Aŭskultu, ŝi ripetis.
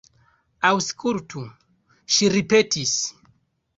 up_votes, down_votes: 2, 1